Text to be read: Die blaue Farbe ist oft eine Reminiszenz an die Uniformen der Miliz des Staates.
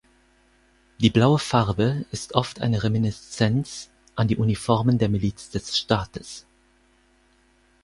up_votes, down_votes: 4, 0